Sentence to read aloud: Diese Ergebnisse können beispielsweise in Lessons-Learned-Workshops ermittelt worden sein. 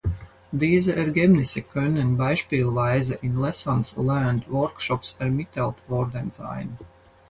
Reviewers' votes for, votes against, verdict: 0, 4, rejected